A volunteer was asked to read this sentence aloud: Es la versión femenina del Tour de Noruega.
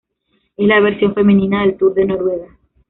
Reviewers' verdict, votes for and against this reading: rejected, 0, 2